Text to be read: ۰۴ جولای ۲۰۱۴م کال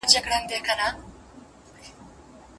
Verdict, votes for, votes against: rejected, 0, 2